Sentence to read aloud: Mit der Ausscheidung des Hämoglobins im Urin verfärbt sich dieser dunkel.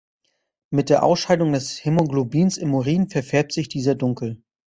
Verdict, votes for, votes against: rejected, 1, 2